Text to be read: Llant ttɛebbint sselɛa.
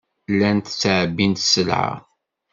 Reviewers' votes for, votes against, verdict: 2, 0, accepted